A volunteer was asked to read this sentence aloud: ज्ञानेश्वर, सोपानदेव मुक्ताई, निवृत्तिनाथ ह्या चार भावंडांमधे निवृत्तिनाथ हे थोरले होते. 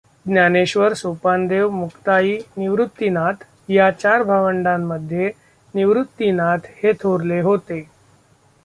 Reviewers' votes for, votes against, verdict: 2, 1, accepted